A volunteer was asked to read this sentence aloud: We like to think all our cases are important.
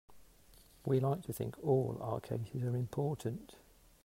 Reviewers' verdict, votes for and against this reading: accepted, 2, 1